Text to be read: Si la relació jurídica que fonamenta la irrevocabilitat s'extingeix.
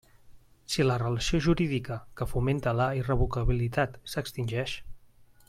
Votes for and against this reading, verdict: 0, 2, rejected